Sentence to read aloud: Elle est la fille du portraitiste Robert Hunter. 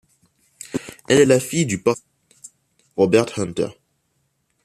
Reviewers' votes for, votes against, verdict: 0, 2, rejected